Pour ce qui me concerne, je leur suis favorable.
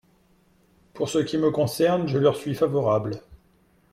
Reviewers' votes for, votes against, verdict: 2, 0, accepted